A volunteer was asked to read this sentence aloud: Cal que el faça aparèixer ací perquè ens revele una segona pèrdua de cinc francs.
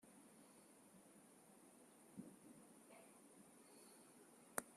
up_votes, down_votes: 0, 2